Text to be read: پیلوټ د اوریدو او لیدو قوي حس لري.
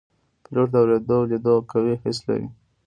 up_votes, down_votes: 0, 2